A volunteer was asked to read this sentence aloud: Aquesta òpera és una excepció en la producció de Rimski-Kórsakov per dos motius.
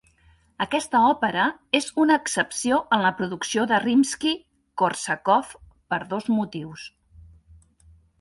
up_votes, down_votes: 2, 1